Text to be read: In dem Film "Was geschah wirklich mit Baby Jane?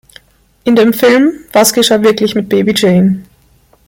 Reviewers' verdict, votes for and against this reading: accepted, 2, 0